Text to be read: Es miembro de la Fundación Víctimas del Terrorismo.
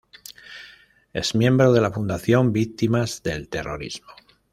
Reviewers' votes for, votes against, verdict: 2, 0, accepted